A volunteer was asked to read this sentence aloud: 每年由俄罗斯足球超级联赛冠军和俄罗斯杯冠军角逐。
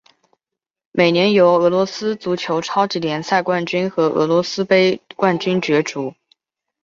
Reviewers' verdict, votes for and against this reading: accepted, 2, 0